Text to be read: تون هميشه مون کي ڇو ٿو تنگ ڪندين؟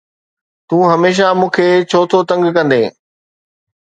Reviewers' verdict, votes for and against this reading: accepted, 2, 0